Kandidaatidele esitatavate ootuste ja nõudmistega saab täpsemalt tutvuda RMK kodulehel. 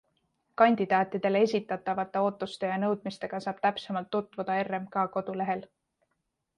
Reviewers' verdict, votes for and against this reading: accepted, 2, 0